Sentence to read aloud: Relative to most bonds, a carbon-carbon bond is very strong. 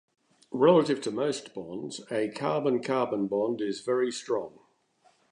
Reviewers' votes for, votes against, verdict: 2, 0, accepted